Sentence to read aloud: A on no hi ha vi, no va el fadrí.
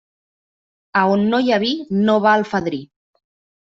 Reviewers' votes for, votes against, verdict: 2, 0, accepted